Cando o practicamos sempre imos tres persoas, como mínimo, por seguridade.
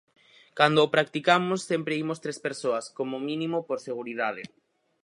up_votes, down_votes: 4, 0